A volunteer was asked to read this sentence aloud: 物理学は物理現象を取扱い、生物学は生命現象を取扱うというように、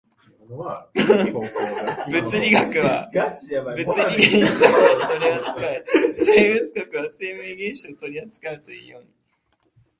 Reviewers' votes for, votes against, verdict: 0, 2, rejected